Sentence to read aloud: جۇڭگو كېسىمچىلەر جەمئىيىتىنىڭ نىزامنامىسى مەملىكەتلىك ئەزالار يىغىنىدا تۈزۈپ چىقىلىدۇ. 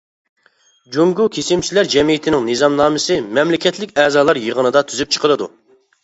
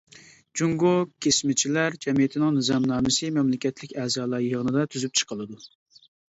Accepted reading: first